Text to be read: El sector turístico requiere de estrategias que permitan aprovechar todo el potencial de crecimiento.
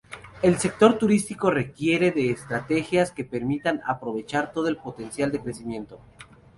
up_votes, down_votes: 0, 2